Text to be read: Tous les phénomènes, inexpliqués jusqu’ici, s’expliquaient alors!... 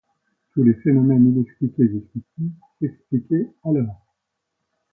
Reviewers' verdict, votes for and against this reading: accepted, 2, 0